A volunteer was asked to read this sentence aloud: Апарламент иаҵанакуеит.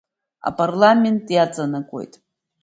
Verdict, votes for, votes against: accepted, 2, 0